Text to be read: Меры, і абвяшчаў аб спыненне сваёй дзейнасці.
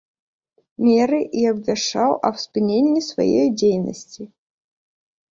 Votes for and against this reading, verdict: 2, 0, accepted